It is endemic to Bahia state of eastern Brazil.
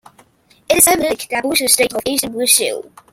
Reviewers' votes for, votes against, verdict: 1, 2, rejected